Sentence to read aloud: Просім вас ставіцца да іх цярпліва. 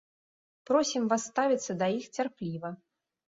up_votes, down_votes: 2, 0